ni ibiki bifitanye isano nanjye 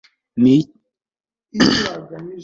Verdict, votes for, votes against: rejected, 1, 2